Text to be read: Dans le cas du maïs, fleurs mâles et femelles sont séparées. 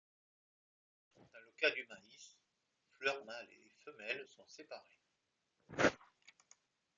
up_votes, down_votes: 0, 2